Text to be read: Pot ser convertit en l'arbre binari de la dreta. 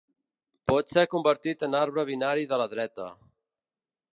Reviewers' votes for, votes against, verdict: 2, 3, rejected